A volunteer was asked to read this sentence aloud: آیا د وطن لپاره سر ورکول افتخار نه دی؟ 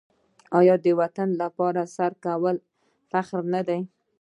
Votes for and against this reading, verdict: 0, 2, rejected